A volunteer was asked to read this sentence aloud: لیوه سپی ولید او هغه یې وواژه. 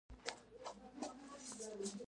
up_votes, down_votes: 0, 2